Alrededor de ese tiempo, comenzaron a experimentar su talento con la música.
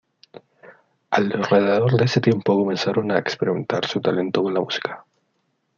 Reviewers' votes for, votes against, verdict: 1, 2, rejected